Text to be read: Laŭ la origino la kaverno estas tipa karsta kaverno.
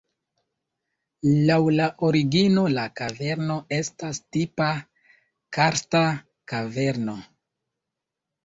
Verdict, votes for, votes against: accepted, 2, 1